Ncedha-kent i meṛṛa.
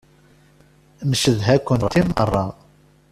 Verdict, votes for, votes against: rejected, 0, 2